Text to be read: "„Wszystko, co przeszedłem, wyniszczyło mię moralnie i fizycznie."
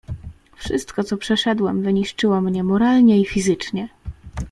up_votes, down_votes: 1, 2